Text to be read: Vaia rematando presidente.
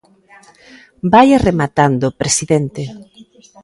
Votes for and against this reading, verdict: 2, 0, accepted